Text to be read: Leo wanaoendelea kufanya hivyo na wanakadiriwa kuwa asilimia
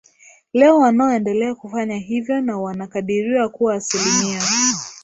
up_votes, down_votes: 2, 0